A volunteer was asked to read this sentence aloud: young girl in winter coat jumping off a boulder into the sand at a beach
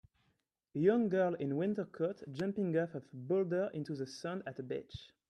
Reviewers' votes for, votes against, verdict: 2, 1, accepted